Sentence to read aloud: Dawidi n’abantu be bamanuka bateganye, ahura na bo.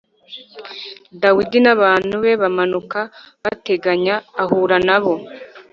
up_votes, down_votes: 1, 2